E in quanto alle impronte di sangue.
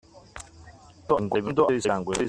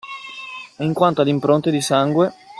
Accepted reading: second